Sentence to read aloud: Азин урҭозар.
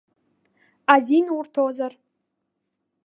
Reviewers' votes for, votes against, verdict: 1, 2, rejected